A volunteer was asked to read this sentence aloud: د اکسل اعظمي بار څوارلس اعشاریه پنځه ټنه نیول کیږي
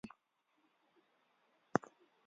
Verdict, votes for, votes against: rejected, 1, 2